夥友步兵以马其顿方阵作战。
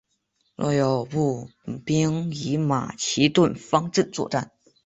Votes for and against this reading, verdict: 3, 1, accepted